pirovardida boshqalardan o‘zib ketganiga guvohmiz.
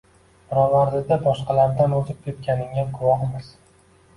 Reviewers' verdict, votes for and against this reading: rejected, 1, 2